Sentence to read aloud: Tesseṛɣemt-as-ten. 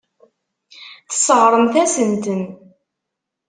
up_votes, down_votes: 0, 2